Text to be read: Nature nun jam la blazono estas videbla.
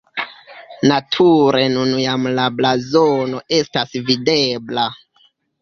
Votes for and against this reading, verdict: 0, 2, rejected